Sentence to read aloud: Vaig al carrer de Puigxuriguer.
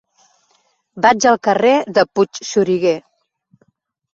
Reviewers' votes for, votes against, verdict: 2, 3, rejected